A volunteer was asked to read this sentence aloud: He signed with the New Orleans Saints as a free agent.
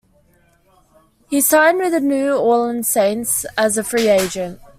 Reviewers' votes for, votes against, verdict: 2, 0, accepted